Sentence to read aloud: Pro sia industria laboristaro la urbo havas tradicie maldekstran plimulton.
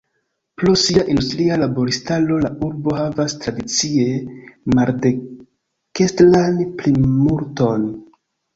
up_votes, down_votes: 1, 2